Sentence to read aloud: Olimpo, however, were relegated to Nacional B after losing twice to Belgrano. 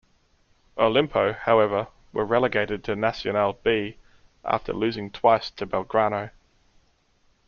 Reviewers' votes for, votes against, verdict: 2, 0, accepted